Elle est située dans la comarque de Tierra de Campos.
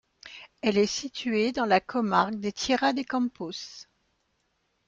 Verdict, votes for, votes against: rejected, 1, 2